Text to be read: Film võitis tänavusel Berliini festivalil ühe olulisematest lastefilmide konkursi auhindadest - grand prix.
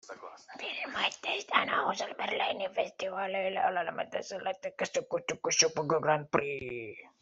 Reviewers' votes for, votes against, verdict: 0, 2, rejected